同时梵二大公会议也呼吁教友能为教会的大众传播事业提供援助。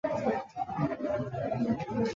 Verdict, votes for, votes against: rejected, 0, 2